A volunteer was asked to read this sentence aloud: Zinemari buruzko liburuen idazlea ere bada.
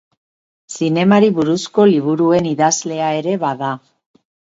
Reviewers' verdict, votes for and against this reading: accepted, 4, 0